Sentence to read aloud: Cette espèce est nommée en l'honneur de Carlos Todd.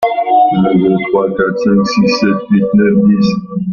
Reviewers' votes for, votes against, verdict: 0, 2, rejected